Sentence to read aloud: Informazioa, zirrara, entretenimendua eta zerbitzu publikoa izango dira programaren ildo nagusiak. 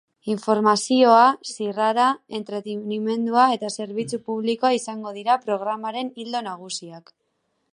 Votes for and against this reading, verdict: 0, 2, rejected